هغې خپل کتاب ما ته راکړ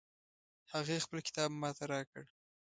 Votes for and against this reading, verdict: 3, 0, accepted